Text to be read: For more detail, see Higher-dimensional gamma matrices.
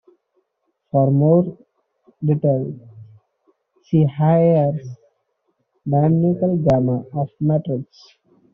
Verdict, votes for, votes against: rejected, 0, 2